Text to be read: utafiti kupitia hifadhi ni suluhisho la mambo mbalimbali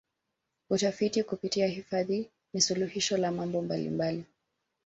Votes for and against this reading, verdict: 1, 2, rejected